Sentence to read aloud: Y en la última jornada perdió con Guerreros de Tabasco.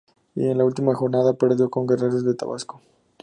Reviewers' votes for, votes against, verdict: 4, 0, accepted